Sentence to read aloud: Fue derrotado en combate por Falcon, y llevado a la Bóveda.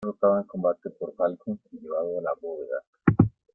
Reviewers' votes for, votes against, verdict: 0, 2, rejected